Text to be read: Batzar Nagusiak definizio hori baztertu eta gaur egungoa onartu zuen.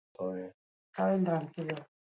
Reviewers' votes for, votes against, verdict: 0, 2, rejected